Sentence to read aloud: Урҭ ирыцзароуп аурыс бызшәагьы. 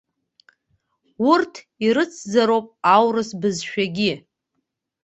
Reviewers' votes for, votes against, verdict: 2, 0, accepted